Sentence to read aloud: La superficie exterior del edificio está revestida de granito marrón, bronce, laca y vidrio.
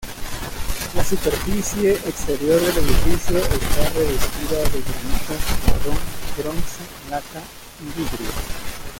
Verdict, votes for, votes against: rejected, 0, 2